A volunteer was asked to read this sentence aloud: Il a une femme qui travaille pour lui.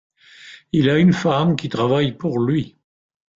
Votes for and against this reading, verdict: 2, 1, accepted